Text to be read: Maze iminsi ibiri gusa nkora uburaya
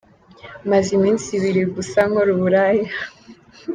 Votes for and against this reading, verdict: 2, 0, accepted